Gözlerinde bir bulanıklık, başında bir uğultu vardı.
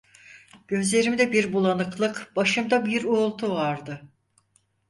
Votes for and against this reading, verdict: 0, 4, rejected